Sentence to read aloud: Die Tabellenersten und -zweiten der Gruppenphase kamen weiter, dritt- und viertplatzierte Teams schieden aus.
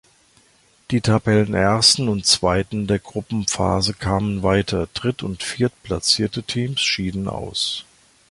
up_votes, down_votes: 2, 0